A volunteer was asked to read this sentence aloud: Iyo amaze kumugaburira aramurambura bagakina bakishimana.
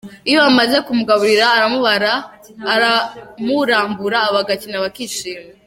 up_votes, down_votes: 0, 2